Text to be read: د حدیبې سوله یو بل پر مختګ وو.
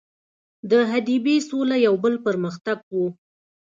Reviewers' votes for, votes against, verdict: 0, 2, rejected